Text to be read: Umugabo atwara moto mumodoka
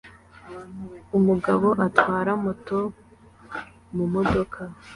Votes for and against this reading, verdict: 2, 0, accepted